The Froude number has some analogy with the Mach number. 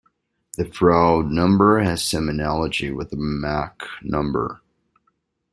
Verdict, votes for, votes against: rejected, 1, 2